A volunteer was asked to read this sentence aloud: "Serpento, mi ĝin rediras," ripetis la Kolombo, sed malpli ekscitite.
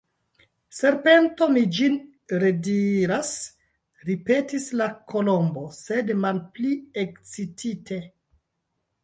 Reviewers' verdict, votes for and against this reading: rejected, 0, 2